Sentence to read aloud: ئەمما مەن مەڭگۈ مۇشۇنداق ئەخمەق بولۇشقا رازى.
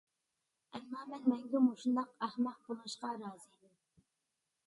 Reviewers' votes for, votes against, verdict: 2, 0, accepted